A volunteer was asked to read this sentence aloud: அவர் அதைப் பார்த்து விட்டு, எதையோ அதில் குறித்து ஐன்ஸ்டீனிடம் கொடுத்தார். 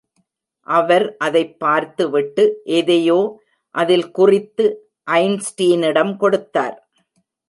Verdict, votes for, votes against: rejected, 1, 2